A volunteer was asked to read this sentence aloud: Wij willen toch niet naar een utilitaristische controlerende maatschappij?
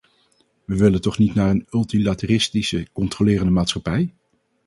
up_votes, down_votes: 2, 2